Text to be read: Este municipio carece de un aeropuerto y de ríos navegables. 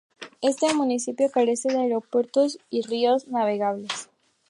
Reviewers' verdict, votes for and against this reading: rejected, 0, 2